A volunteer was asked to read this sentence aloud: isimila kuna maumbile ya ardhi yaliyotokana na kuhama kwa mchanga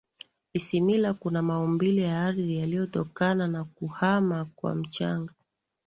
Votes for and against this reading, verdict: 2, 0, accepted